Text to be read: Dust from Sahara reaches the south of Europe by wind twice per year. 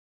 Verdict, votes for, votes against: rejected, 0, 2